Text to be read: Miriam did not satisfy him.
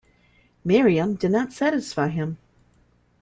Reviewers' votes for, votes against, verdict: 2, 0, accepted